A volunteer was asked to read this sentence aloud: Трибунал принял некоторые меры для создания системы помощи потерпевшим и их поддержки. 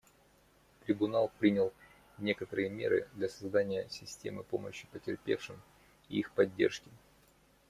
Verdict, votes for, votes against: accepted, 2, 1